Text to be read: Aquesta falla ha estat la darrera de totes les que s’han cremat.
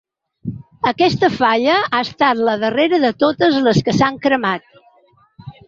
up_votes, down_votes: 2, 0